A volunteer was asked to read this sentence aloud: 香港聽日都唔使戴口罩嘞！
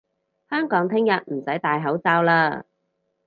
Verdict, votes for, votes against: accepted, 4, 2